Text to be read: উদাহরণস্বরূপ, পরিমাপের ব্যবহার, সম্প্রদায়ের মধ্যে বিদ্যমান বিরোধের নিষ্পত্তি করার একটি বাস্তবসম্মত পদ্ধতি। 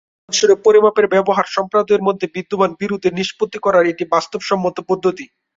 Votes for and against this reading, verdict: 1, 2, rejected